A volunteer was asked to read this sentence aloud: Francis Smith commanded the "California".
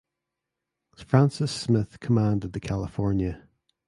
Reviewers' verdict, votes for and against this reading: accepted, 2, 0